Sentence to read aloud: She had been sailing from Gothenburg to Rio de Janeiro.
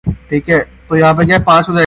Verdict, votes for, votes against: rejected, 0, 2